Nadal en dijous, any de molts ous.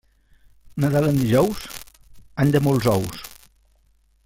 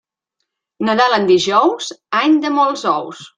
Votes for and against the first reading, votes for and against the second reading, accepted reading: 1, 2, 3, 0, second